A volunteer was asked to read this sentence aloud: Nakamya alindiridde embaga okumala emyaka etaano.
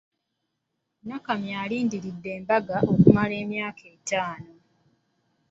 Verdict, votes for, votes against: accepted, 2, 0